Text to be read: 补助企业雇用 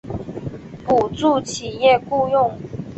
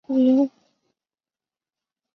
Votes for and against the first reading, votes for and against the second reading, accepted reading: 5, 0, 0, 2, first